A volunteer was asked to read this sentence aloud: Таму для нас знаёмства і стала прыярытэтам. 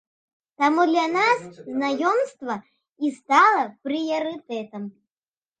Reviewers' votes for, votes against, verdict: 2, 0, accepted